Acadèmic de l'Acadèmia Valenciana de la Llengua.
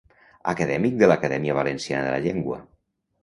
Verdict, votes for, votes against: rejected, 0, 2